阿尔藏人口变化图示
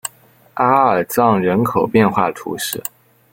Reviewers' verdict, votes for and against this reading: accepted, 2, 0